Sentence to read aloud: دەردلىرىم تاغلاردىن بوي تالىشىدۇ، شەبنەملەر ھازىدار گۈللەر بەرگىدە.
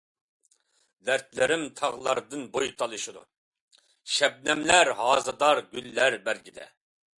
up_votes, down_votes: 2, 0